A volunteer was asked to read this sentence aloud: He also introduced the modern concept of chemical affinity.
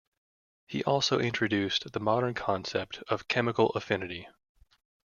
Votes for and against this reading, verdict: 2, 0, accepted